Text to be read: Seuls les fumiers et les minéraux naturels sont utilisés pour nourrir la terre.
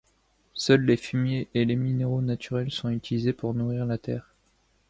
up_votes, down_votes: 2, 0